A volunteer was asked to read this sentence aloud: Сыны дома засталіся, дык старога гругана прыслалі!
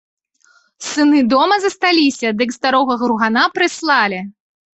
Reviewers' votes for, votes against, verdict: 2, 1, accepted